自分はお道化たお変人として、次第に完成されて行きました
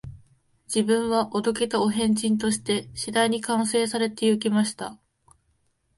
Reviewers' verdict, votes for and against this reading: accepted, 2, 0